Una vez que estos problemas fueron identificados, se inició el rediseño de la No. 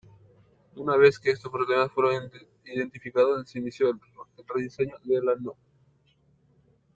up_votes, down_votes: 0, 2